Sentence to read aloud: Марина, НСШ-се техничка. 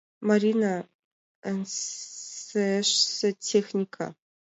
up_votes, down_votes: 0, 2